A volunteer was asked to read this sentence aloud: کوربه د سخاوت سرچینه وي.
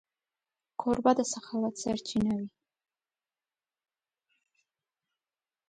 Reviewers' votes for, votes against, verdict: 0, 2, rejected